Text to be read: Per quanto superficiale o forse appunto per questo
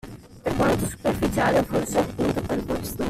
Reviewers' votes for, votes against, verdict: 1, 2, rejected